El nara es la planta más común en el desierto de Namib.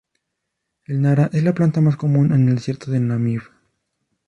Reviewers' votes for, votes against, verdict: 0, 2, rejected